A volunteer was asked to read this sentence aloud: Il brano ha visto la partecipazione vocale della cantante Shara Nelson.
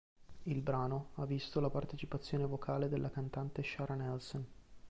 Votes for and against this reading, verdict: 2, 0, accepted